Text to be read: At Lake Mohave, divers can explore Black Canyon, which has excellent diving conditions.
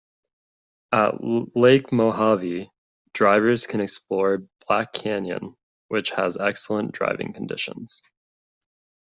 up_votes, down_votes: 0, 2